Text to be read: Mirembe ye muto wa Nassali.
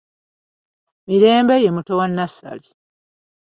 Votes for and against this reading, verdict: 2, 0, accepted